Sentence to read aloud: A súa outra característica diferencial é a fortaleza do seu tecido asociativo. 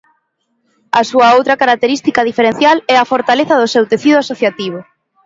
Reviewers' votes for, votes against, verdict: 2, 0, accepted